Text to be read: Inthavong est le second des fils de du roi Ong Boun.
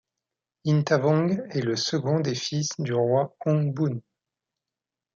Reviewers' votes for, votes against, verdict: 2, 0, accepted